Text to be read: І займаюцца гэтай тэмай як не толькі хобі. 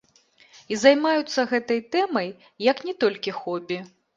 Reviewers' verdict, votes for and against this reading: accepted, 2, 0